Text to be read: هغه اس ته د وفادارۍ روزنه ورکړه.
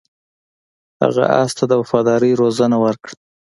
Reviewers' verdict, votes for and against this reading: accepted, 2, 0